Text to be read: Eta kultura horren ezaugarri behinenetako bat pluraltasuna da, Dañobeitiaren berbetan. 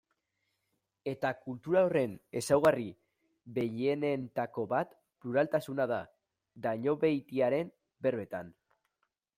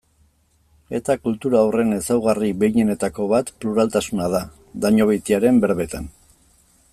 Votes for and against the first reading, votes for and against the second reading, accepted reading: 1, 2, 2, 0, second